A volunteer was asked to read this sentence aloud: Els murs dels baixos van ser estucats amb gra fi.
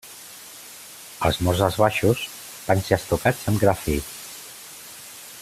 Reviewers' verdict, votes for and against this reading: accepted, 2, 0